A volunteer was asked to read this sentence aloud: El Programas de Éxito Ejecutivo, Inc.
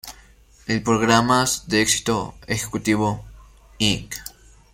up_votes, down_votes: 2, 1